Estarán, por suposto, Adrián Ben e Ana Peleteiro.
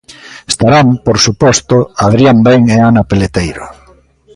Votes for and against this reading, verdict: 2, 1, accepted